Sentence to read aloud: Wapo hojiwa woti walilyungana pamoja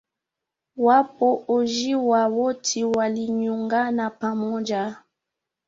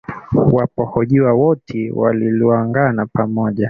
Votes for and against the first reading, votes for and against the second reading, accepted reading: 2, 0, 1, 2, first